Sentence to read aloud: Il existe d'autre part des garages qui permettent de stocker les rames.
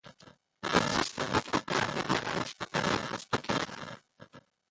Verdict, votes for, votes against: rejected, 0, 2